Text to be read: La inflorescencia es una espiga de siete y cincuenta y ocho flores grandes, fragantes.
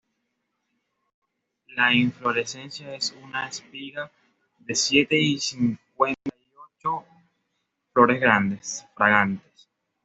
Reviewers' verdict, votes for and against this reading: rejected, 0, 2